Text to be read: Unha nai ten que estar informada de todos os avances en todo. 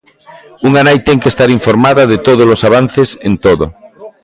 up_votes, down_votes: 2, 1